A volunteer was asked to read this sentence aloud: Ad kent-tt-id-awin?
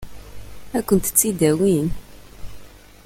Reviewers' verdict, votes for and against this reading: accepted, 2, 0